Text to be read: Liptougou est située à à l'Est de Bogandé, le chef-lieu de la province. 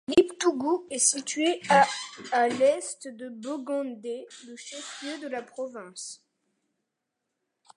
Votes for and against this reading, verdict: 2, 0, accepted